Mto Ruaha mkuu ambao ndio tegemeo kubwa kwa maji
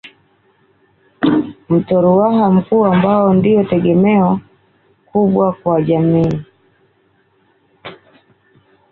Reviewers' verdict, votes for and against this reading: rejected, 0, 2